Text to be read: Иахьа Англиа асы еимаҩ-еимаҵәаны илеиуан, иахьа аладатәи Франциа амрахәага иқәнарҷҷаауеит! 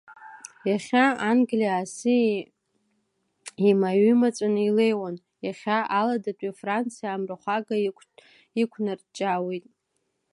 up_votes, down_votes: 1, 2